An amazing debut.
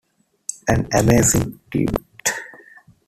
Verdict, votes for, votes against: rejected, 0, 2